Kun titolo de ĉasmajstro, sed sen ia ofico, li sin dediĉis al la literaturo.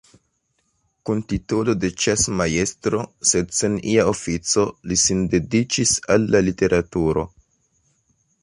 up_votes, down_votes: 2, 0